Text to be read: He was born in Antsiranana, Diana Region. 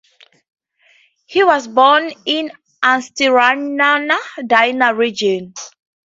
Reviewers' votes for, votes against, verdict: 2, 2, rejected